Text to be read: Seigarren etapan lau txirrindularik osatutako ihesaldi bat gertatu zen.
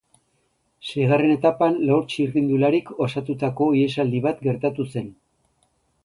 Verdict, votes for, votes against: accepted, 2, 0